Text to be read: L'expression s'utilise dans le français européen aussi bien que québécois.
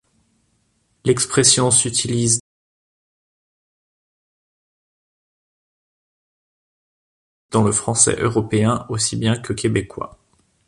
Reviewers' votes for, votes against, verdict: 0, 2, rejected